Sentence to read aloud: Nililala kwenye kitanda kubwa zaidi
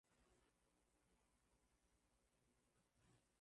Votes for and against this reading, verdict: 0, 2, rejected